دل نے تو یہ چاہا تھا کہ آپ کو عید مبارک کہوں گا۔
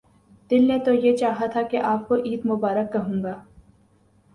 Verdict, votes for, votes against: accepted, 2, 0